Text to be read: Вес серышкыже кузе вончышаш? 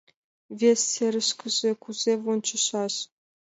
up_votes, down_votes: 2, 0